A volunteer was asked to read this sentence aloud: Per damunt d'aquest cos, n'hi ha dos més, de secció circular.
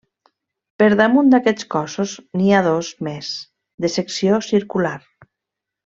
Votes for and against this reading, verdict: 1, 2, rejected